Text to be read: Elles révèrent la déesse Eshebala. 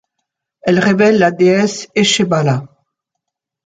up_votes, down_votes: 0, 2